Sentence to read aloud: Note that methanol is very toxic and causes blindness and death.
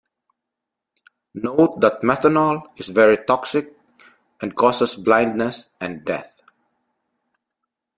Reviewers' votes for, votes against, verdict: 2, 0, accepted